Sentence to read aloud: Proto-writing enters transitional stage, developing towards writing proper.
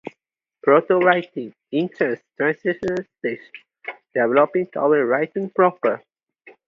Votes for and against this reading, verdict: 0, 2, rejected